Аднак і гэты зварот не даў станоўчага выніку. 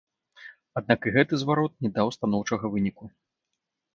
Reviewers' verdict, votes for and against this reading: rejected, 1, 2